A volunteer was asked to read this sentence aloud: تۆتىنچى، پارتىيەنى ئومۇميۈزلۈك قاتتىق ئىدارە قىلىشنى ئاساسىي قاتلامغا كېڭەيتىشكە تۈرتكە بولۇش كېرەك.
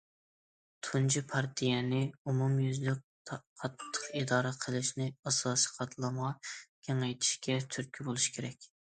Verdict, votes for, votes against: rejected, 0, 2